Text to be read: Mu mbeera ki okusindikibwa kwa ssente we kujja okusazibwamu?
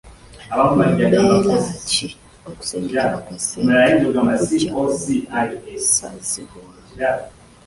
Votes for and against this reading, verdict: 0, 2, rejected